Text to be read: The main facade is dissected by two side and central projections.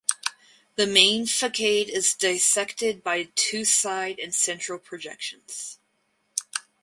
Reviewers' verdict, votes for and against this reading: rejected, 0, 4